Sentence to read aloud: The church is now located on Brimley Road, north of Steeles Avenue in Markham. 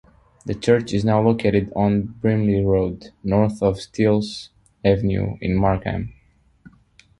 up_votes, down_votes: 2, 0